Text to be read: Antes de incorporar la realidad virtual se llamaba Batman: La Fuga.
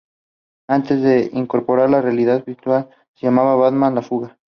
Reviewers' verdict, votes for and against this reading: accepted, 2, 0